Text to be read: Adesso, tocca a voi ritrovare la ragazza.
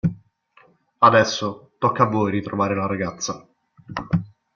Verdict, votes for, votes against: accepted, 2, 0